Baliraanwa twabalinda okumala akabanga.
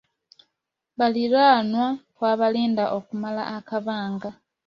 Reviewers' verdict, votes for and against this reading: accepted, 2, 0